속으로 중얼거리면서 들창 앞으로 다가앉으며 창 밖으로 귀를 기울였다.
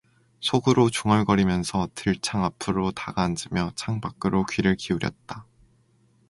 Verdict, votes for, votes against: accepted, 2, 0